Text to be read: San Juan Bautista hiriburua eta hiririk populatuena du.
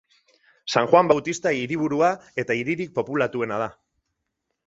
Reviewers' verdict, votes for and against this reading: rejected, 0, 4